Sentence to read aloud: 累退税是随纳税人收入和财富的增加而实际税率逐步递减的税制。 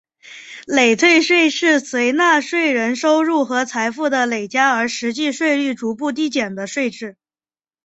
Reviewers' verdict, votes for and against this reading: rejected, 0, 2